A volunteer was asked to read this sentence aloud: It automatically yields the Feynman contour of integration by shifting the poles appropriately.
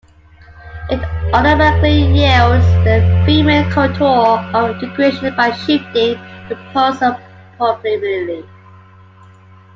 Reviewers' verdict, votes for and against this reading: rejected, 1, 2